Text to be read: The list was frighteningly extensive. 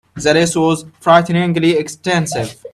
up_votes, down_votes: 0, 2